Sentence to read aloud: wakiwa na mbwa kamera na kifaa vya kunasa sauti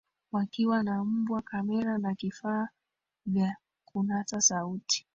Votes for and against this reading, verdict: 0, 2, rejected